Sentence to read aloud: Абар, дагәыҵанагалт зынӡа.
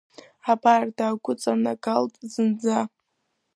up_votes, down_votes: 2, 1